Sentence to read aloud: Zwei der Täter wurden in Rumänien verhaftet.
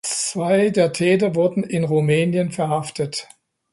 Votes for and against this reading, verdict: 2, 0, accepted